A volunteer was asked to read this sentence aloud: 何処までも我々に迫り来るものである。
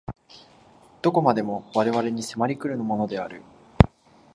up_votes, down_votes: 0, 2